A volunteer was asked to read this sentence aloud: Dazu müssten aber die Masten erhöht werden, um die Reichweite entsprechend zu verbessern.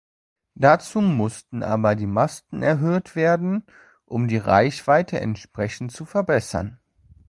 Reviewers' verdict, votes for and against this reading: rejected, 1, 2